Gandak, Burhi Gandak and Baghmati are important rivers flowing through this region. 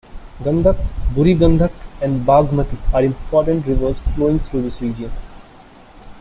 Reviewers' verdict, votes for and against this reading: accepted, 2, 1